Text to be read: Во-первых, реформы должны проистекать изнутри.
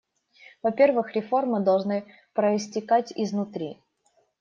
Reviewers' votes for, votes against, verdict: 2, 0, accepted